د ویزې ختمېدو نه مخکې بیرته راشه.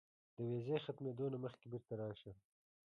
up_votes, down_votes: 1, 2